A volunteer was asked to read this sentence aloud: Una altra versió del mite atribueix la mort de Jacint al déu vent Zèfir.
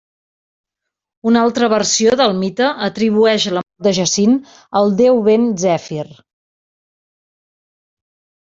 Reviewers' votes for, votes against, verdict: 1, 2, rejected